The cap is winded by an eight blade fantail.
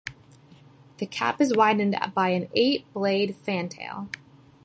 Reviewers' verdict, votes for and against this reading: rejected, 0, 2